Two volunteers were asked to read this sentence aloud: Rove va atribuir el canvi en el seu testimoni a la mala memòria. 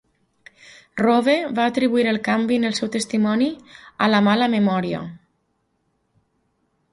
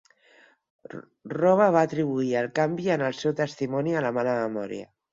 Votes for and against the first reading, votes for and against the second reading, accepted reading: 2, 0, 2, 4, first